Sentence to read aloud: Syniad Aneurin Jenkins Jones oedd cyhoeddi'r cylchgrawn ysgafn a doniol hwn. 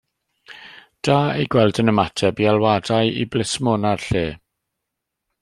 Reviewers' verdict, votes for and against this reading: rejected, 0, 2